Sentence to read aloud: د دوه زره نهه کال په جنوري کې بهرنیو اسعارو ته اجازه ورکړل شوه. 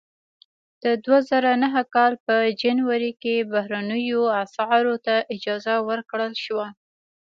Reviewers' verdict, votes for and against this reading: accepted, 2, 1